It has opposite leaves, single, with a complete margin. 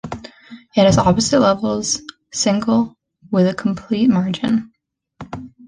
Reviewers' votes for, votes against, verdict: 0, 2, rejected